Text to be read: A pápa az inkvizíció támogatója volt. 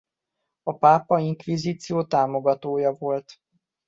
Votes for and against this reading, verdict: 0, 2, rejected